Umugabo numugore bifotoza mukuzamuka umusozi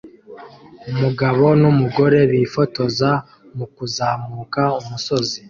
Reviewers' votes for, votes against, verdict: 2, 0, accepted